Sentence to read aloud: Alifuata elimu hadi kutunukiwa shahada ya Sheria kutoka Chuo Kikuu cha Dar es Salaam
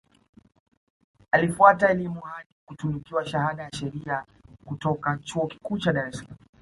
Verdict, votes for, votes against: rejected, 1, 2